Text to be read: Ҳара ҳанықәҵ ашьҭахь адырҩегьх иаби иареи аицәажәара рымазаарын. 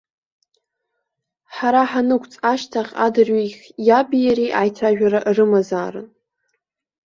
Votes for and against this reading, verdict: 2, 0, accepted